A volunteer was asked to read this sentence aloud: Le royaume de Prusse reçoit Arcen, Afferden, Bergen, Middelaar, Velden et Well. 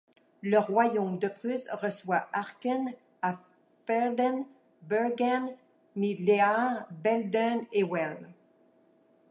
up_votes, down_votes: 1, 2